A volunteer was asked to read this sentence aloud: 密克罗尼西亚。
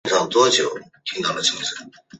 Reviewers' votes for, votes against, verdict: 0, 3, rejected